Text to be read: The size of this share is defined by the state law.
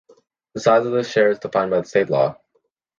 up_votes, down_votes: 2, 0